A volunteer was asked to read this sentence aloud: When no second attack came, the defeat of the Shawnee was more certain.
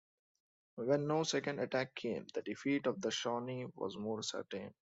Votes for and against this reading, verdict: 2, 0, accepted